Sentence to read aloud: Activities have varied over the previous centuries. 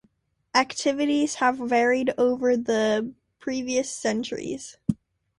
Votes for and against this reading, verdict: 2, 0, accepted